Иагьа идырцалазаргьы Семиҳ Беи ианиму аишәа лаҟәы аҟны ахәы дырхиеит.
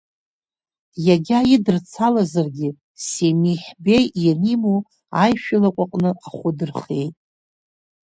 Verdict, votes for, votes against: accepted, 2, 1